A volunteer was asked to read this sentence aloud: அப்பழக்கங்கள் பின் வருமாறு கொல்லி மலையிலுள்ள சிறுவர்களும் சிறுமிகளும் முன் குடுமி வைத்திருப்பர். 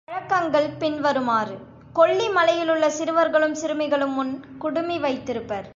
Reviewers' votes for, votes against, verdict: 1, 2, rejected